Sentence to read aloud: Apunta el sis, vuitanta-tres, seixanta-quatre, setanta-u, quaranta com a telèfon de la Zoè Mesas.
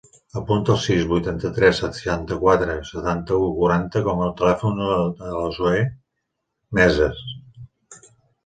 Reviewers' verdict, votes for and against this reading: rejected, 0, 2